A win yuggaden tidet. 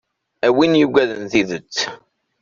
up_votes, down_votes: 2, 0